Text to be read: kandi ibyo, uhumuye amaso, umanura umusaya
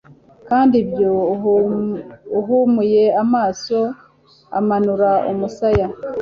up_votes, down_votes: 0, 2